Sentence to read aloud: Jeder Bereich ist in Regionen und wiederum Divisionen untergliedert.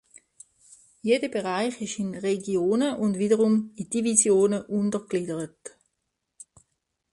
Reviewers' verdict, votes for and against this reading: accepted, 2, 0